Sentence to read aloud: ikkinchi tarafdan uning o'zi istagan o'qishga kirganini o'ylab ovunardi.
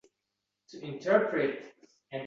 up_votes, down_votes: 0, 2